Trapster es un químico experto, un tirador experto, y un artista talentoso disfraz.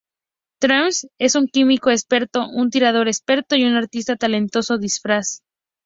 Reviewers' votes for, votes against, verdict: 0, 2, rejected